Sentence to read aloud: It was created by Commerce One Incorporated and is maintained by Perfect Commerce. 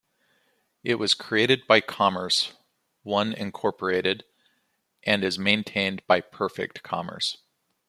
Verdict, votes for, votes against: accepted, 2, 0